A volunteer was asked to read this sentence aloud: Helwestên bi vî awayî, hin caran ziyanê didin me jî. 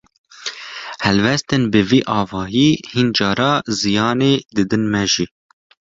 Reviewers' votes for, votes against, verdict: 0, 2, rejected